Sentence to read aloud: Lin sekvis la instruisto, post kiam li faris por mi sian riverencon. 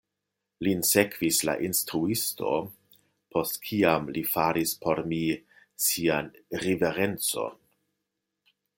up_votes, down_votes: 2, 0